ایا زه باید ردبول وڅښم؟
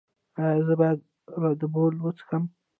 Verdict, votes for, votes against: rejected, 1, 2